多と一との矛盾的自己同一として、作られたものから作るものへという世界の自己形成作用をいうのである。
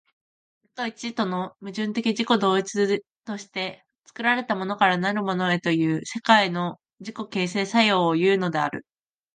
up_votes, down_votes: 2, 4